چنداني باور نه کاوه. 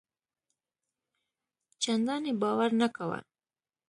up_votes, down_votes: 2, 1